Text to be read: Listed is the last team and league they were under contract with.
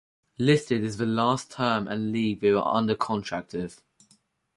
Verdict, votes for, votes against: rejected, 2, 4